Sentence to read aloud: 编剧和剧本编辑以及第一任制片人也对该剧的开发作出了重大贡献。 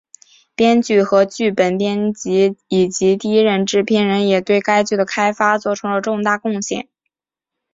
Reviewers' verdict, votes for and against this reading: accepted, 3, 0